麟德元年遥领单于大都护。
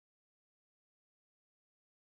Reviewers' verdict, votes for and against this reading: rejected, 1, 2